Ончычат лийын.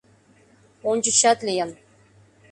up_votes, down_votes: 2, 0